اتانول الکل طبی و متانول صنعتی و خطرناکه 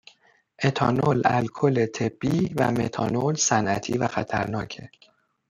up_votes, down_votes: 2, 0